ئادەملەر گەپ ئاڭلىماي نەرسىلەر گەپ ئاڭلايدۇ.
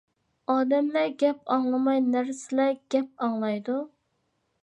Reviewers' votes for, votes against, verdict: 3, 0, accepted